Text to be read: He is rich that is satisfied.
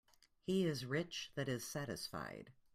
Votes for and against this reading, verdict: 2, 0, accepted